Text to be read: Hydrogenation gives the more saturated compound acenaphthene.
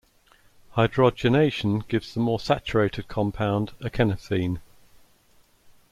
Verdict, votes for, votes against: rejected, 0, 2